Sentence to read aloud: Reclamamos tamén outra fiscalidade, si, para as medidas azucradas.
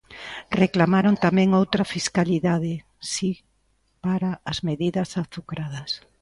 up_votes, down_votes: 0, 2